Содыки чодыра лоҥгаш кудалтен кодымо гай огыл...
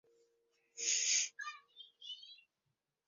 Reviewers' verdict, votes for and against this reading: rejected, 0, 2